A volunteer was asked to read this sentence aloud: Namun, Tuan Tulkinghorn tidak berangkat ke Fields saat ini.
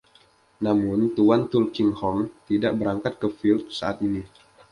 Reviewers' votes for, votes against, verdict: 2, 0, accepted